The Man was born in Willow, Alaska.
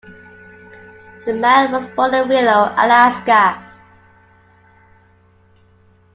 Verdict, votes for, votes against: rejected, 1, 2